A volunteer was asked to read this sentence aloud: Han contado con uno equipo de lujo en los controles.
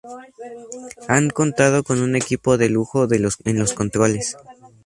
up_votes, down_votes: 0, 2